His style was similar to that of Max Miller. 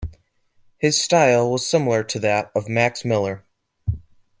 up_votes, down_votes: 2, 0